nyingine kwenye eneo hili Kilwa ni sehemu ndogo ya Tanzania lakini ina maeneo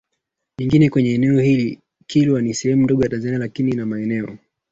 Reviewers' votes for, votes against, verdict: 1, 2, rejected